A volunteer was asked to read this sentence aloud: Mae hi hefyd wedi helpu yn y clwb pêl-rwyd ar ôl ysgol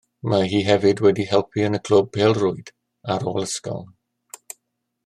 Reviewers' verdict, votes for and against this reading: accepted, 2, 0